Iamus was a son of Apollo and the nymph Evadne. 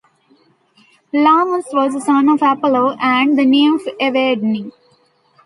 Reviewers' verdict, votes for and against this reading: rejected, 0, 2